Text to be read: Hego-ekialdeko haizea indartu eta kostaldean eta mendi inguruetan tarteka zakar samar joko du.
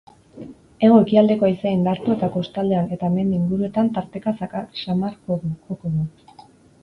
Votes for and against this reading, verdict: 4, 0, accepted